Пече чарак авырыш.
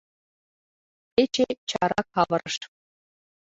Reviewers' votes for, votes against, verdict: 0, 2, rejected